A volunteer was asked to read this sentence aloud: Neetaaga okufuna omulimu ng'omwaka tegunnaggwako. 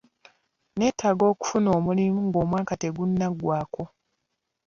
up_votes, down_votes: 0, 2